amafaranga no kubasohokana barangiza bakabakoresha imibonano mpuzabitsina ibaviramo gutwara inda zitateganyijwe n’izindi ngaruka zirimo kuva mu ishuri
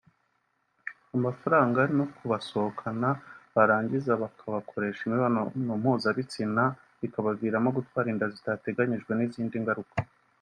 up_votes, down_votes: 0, 2